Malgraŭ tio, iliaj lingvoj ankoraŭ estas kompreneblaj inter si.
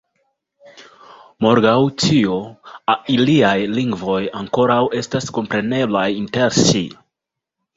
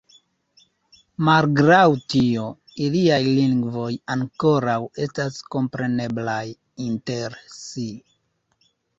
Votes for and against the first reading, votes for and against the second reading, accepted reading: 2, 0, 1, 2, first